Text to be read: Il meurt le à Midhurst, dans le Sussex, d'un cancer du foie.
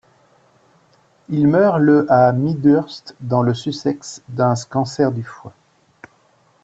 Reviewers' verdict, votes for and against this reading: rejected, 1, 2